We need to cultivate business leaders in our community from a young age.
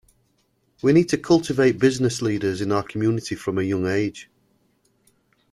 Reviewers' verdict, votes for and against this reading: accepted, 2, 0